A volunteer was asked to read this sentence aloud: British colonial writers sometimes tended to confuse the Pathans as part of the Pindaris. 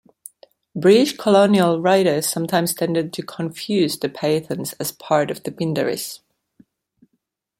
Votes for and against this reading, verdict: 0, 2, rejected